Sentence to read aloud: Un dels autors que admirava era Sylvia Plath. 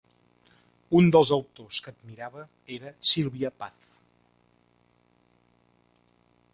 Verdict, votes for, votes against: rejected, 0, 2